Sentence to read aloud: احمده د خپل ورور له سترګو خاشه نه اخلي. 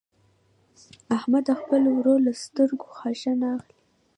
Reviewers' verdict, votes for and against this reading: accepted, 2, 0